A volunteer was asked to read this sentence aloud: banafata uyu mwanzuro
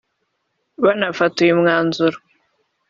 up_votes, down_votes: 4, 0